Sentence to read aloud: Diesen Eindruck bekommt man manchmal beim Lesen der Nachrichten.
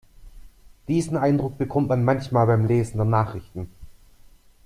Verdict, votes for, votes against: accepted, 2, 0